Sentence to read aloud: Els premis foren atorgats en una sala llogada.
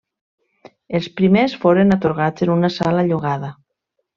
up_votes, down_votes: 1, 2